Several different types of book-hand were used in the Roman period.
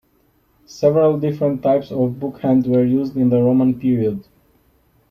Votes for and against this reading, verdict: 2, 0, accepted